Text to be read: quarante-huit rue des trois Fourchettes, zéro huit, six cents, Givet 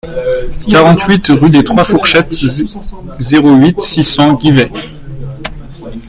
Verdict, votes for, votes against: rejected, 0, 2